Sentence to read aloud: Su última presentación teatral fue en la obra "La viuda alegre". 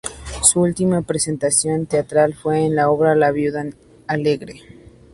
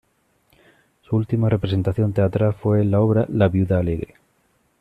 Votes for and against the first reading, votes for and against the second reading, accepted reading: 2, 0, 0, 2, first